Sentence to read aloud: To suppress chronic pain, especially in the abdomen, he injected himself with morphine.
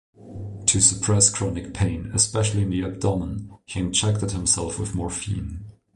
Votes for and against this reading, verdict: 2, 0, accepted